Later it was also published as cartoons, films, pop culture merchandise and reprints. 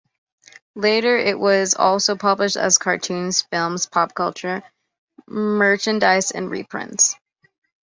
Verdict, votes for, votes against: accepted, 2, 0